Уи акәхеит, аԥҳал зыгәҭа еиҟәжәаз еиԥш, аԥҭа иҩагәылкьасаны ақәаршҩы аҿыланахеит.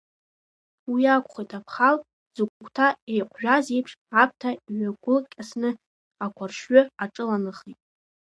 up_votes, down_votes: 2, 1